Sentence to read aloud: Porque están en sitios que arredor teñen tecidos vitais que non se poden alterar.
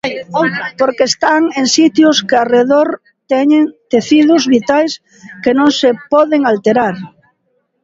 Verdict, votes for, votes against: rejected, 1, 3